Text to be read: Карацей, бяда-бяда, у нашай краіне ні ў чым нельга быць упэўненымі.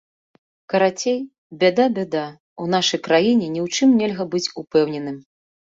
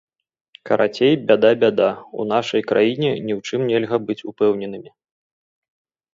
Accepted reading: second